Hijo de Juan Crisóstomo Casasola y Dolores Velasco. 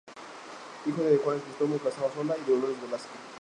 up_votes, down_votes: 0, 2